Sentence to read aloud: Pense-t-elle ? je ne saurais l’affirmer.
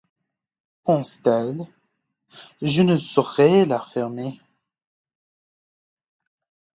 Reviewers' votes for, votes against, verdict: 1, 2, rejected